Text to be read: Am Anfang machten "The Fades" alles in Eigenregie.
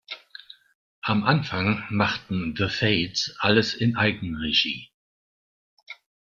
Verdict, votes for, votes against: accepted, 2, 0